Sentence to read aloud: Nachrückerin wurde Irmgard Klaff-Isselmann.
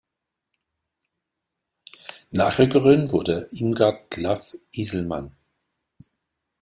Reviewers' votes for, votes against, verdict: 2, 1, accepted